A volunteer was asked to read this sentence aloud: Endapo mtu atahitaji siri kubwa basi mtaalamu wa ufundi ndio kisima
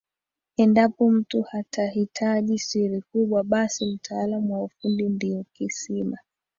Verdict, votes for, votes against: accepted, 3, 2